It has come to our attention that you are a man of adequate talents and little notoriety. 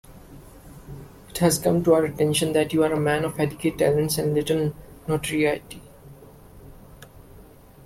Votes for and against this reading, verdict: 2, 0, accepted